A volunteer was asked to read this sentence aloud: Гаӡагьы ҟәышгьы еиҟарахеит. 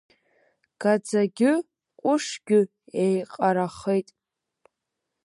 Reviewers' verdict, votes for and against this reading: accepted, 2, 0